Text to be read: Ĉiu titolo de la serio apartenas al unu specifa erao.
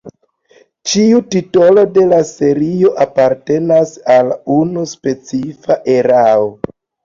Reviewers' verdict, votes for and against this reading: accepted, 2, 0